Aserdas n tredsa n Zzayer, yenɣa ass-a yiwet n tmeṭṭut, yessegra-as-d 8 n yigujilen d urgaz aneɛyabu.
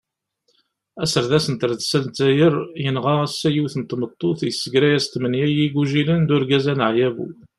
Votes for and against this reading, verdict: 0, 2, rejected